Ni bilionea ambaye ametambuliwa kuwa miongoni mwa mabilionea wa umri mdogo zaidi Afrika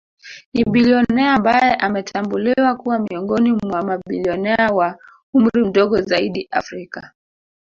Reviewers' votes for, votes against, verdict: 0, 2, rejected